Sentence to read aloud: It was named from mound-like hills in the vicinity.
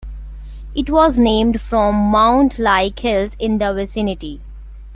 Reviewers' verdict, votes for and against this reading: accepted, 2, 0